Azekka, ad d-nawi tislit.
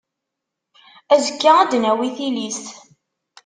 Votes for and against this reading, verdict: 0, 2, rejected